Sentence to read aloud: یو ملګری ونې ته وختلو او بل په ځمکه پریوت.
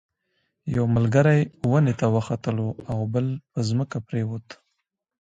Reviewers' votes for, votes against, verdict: 2, 0, accepted